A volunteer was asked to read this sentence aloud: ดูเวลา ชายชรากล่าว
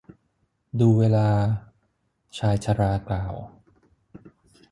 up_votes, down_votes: 6, 0